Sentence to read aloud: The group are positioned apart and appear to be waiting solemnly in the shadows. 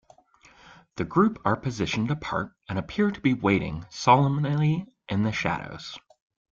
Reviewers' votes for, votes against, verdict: 1, 2, rejected